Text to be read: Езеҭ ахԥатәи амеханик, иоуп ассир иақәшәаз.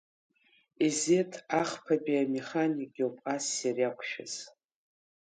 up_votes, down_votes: 1, 2